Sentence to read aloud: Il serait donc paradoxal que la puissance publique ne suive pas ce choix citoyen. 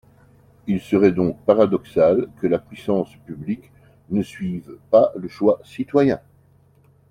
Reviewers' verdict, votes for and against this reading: rejected, 0, 3